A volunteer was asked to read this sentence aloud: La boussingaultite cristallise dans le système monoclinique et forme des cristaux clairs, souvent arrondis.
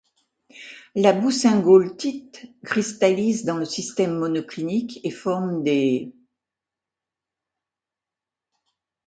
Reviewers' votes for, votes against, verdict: 0, 2, rejected